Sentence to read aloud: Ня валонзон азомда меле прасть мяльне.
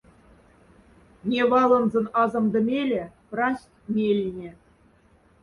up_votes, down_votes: 1, 2